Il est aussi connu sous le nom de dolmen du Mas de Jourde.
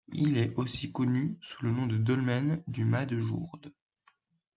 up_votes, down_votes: 2, 0